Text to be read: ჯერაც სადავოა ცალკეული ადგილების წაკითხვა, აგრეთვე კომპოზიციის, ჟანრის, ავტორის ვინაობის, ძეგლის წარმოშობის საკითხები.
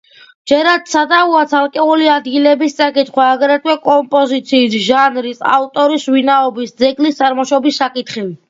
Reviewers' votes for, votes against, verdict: 2, 0, accepted